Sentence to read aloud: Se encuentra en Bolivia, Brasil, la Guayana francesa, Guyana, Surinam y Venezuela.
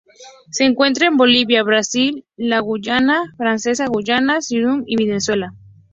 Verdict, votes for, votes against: rejected, 0, 2